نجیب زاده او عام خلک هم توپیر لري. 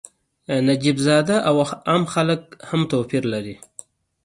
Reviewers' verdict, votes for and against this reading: accepted, 2, 0